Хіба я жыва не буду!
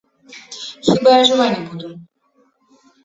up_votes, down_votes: 1, 2